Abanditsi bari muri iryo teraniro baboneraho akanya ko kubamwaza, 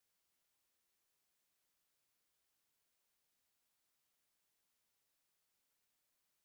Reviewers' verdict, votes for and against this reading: rejected, 0, 2